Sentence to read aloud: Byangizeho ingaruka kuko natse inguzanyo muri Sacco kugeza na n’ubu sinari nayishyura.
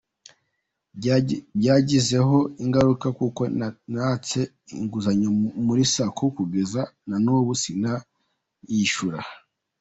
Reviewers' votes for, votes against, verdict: 0, 3, rejected